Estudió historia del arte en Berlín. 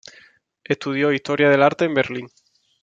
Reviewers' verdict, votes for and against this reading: rejected, 1, 2